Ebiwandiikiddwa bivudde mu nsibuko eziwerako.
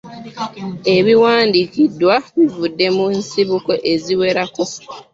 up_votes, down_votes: 1, 2